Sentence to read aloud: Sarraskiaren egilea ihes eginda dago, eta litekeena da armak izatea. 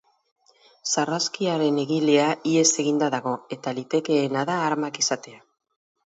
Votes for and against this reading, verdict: 2, 2, rejected